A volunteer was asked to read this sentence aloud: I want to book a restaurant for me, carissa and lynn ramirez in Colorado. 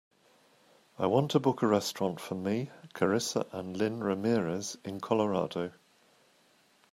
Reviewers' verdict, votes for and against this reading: accepted, 3, 0